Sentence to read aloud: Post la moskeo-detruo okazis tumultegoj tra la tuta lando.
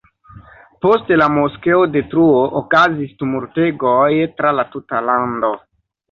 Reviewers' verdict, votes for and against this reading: accepted, 2, 0